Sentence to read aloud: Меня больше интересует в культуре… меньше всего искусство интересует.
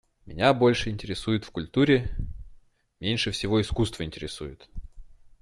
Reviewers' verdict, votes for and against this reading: accepted, 3, 0